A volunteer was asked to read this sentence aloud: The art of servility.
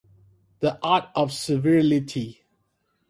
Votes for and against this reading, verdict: 0, 2, rejected